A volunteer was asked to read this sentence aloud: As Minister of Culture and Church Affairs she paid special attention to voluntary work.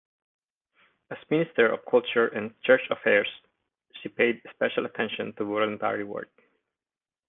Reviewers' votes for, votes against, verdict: 1, 2, rejected